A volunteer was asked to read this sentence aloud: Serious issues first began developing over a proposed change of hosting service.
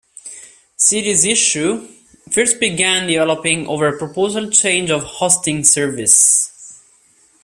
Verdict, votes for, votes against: rejected, 1, 2